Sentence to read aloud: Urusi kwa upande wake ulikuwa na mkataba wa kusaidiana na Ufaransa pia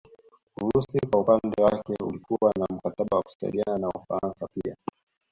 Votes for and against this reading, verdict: 3, 2, accepted